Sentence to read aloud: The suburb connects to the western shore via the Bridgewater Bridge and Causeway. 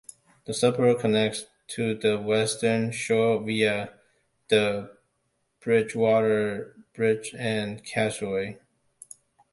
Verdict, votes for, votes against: rejected, 0, 2